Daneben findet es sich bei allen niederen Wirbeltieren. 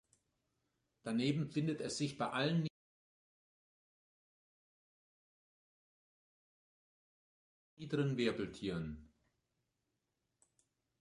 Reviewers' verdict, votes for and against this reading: rejected, 1, 2